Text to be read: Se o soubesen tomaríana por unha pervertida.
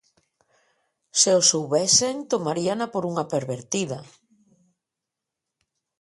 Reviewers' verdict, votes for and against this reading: accepted, 2, 0